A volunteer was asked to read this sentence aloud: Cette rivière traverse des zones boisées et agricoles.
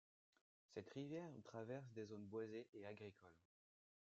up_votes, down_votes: 0, 2